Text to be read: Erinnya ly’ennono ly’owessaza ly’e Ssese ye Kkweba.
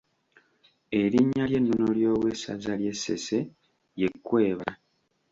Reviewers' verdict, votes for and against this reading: accepted, 2, 0